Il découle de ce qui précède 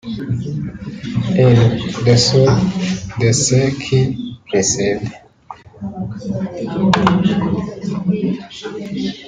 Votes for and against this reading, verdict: 0, 2, rejected